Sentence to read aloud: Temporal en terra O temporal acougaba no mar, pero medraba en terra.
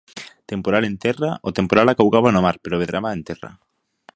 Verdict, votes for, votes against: accepted, 2, 0